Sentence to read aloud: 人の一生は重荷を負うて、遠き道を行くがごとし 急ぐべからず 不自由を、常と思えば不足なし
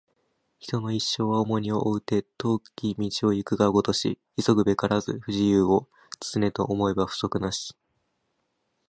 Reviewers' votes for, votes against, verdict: 2, 0, accepted